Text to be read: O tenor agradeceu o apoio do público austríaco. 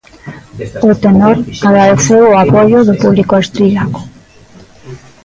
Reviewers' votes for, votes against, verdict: 1, 2, rejected